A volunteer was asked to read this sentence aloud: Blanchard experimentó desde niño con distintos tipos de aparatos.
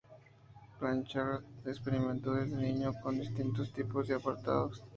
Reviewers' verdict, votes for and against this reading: rejected, 0, 2